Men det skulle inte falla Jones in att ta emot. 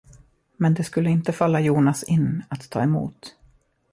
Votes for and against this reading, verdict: 0, 2, rejected